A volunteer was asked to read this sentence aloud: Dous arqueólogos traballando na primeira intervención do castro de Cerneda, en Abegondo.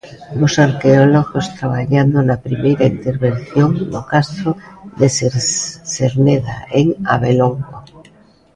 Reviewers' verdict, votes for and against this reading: rejected, 0, 2